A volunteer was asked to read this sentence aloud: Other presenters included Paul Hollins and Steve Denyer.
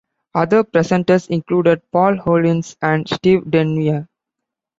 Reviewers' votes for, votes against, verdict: 2, 0, accepted